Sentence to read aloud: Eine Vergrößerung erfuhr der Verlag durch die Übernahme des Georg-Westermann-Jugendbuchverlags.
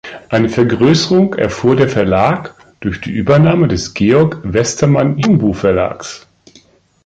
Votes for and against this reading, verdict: 0, 2, rejected